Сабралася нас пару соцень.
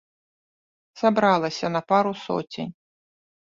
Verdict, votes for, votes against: rejected, 0, 2